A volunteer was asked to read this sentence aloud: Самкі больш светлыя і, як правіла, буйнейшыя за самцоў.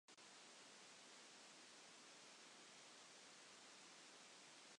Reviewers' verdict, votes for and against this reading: rejected, 0, 2